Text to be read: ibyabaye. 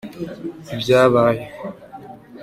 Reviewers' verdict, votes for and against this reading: accepted, 2, 0